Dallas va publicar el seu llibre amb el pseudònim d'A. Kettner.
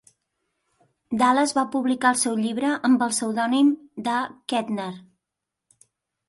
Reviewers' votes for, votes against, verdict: 0, 2, rejected